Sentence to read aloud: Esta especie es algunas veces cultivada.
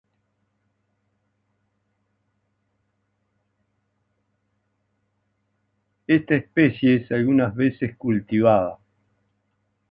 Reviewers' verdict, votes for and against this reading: rejected, 0, 2